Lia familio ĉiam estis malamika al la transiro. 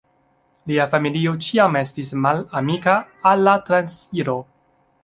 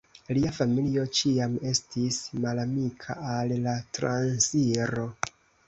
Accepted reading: second